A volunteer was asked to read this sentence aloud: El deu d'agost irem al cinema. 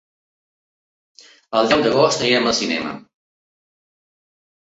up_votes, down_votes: 2, 1